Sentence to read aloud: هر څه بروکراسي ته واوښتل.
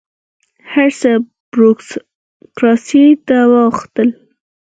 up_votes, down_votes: 0, 6